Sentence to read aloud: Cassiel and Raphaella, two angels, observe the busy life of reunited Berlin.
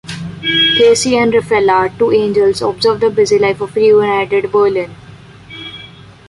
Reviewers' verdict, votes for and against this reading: accepted, 2, 0